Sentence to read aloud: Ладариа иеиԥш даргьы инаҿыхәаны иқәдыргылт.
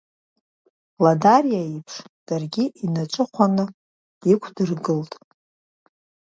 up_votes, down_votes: 2, 1